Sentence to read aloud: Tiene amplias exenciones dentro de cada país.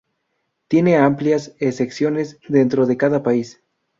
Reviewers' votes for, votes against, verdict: 0, 2, rejected